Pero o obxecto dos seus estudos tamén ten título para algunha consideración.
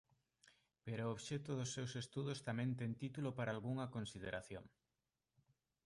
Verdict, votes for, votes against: rejected, 2, 3